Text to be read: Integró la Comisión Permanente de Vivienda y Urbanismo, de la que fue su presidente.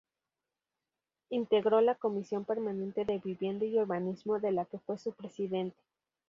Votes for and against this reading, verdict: 2, 2, rejected